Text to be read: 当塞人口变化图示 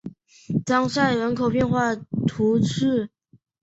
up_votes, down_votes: 5, 0